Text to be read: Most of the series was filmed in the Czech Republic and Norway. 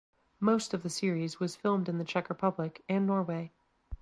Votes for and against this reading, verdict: 2, 0, accepted